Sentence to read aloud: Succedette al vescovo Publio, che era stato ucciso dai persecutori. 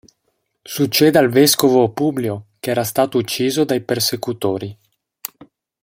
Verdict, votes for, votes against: rejected, 0, 2